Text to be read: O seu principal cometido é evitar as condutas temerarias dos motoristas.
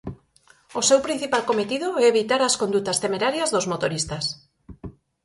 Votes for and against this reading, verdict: 4, 0, accepted